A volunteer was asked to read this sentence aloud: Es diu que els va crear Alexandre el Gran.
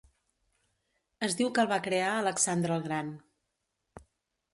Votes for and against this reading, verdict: 1, 2, rejected